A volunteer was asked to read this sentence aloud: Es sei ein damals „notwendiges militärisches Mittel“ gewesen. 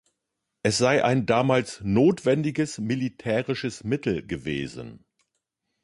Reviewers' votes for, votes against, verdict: 2, 0, accepted